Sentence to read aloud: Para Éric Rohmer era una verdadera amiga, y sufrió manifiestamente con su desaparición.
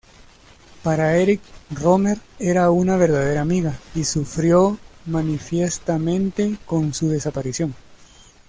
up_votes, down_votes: 2, 0